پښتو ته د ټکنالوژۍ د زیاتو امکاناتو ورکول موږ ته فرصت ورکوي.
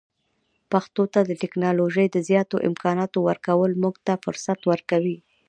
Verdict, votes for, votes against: accepted, 2, 0